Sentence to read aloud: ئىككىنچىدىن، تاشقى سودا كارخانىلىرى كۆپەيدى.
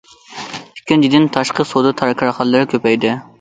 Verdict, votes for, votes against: rejected, 0, 2